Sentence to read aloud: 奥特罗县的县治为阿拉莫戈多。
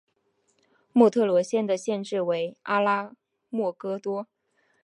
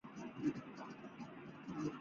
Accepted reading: first